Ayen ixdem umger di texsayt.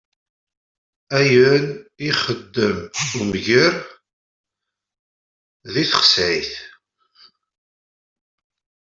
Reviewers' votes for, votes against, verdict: 0, 2, rejected